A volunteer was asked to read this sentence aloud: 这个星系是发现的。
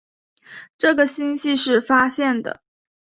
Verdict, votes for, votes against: accepted, 4, 0